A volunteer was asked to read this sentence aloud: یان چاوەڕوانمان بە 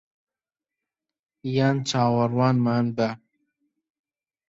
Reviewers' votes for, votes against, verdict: 2, 0, accepted